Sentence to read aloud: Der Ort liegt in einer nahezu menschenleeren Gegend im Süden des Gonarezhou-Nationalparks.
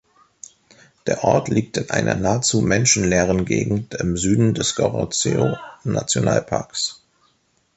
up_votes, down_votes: 0, 3